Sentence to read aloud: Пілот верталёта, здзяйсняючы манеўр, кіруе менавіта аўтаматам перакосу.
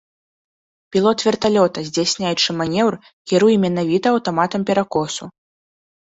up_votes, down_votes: 2, 0